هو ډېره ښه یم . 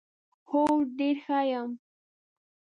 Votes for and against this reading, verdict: 1, 2, rejected